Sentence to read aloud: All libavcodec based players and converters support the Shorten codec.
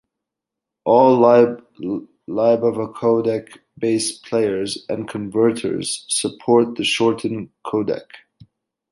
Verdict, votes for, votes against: rejected, 1, 2